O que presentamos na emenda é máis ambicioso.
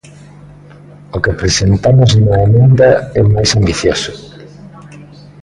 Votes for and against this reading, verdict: 1, 2, rejected